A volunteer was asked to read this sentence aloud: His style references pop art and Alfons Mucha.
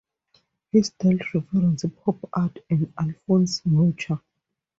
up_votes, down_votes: 0, 2